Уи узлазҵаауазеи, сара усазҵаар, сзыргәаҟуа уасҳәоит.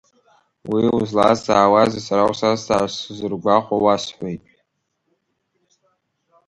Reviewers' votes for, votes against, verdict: 1, 2, rejected